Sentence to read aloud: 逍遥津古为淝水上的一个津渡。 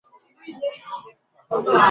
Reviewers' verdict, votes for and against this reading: rejected, 1, 2